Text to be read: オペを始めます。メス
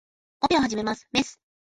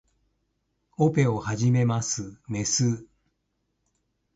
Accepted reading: first